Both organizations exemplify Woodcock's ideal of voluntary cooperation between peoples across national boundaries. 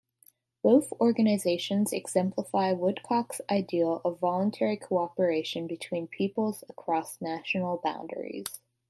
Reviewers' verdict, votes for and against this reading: accepted, 2, 0